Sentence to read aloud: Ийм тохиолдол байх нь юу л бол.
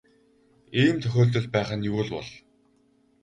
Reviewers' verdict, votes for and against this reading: rejected, 2, 2